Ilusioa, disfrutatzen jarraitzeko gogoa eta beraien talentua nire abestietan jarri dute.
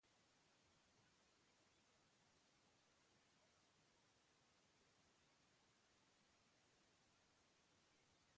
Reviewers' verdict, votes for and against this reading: rejected, 0, 2